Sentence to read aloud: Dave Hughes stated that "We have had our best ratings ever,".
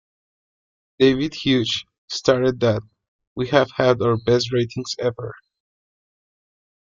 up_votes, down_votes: 0, 2